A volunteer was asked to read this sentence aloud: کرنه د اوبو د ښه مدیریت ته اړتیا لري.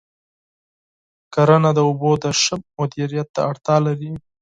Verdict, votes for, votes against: accepted, 4, 0